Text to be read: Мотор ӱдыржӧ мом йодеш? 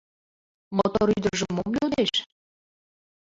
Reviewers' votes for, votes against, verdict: 2, 1, accepted